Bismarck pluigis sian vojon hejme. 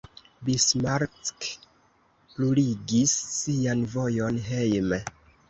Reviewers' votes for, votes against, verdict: 1, 2, rejected